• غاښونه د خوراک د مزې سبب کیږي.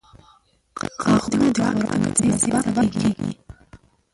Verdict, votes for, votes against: rejected, 0, 2